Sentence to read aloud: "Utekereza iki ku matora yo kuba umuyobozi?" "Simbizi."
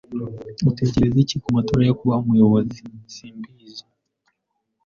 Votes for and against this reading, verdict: 0, 2, rejected